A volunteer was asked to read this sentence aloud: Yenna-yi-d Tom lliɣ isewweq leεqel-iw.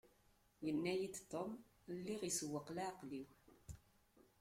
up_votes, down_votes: 2, 1